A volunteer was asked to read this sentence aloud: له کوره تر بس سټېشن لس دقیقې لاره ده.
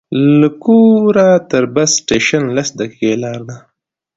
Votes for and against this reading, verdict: 2, 0, accepted